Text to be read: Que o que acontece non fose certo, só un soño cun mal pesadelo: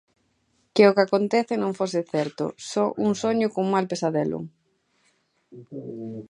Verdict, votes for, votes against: rejected, 1, 2